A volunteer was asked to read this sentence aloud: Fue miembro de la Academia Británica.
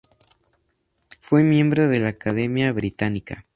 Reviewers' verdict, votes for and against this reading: accepted, 4, 0